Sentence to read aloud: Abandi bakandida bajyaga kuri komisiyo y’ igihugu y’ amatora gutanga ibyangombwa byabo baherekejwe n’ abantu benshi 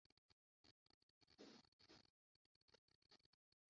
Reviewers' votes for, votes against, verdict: 0, 2, rejected